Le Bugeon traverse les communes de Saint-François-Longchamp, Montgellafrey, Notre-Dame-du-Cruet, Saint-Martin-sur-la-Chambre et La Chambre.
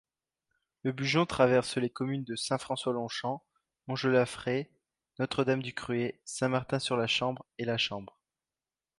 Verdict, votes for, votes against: accepted, 2, 0